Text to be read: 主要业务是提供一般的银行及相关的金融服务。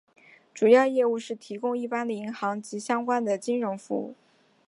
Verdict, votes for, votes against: accepted, 2, 0